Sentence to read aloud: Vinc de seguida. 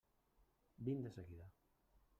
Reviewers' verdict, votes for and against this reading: rejected, 0, 2